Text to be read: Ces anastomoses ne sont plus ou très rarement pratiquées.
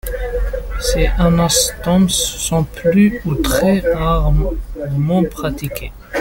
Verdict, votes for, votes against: rejected, 0, 2